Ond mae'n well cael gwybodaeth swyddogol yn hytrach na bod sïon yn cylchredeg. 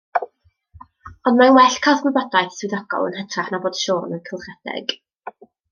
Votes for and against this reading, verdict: 0, 2, rejected